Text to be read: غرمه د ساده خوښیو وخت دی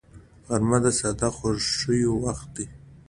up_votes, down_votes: 2, 0